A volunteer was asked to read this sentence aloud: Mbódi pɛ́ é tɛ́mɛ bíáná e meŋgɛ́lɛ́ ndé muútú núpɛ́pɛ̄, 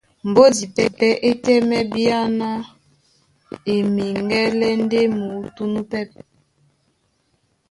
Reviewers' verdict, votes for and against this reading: rejected, 1, 2